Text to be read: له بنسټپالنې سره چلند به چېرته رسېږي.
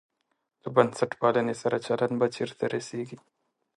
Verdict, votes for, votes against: accepted, 2, 0